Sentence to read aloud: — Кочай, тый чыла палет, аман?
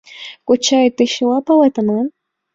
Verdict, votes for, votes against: accepted, 2, 0